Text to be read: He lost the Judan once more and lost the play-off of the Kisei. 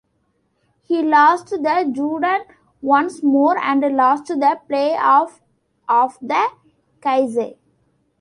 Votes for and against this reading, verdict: 0, 2, rejected